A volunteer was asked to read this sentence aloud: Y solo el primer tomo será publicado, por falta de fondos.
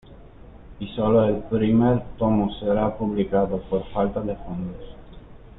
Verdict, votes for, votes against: accepted, 2, 1